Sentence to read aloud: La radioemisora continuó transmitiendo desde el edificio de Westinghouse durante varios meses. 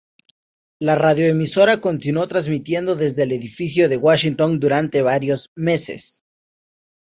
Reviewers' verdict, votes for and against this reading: accepted, 2, 0